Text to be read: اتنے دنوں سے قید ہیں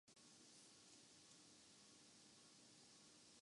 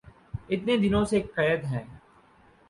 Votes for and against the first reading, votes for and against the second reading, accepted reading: 0, 2, 4, 0, second